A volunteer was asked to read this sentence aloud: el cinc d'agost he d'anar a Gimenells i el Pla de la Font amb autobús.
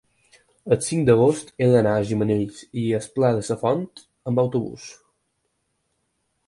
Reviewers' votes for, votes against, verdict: 2, 4, rejected